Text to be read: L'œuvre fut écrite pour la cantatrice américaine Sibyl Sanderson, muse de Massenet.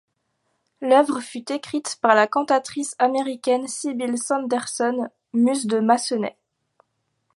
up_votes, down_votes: 1, 2